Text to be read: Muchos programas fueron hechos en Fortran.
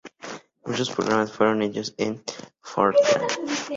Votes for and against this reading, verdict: 2, 0, accepted